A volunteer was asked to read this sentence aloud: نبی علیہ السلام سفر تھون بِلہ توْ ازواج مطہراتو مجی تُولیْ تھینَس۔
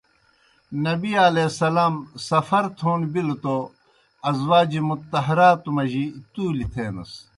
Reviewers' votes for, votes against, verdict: 2, 0, accepted